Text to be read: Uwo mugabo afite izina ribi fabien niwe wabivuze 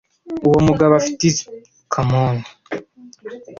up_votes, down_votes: 1, 2